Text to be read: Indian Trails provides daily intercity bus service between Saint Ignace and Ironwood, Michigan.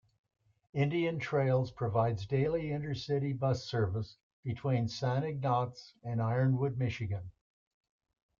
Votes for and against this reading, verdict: 0, 2, rejected